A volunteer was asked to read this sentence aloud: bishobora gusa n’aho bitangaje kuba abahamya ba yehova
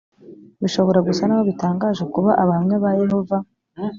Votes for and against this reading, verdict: 2, 0, accepted